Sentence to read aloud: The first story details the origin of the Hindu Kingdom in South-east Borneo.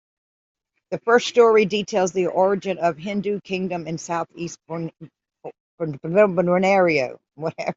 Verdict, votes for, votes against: rejected, 0, 2